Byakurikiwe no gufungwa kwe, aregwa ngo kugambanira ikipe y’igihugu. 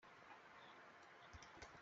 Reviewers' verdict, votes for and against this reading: rejected, 0, 2